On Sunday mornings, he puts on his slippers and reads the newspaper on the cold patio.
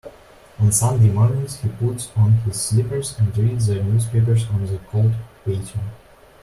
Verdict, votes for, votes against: accepted, 2, 1